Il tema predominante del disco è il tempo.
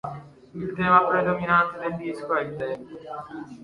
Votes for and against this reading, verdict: 1, 2, rejected